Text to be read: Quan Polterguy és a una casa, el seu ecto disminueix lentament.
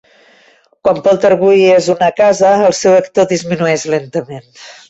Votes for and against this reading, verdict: 0, 2, rejected